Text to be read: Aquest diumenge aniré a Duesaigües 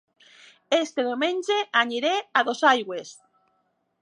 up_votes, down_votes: 1, 2